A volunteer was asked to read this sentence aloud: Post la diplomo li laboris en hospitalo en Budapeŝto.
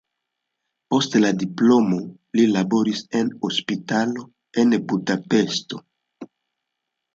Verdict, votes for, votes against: accepted, 2, 0